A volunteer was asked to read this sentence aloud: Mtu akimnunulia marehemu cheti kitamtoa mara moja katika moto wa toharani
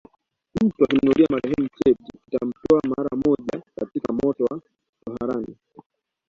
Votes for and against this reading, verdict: 2, 1, accepted